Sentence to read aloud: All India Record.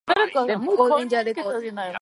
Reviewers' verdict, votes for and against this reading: rejected, 0, 4